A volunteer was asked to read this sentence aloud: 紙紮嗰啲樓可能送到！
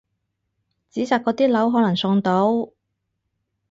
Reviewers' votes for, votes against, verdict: 4, 0, accepted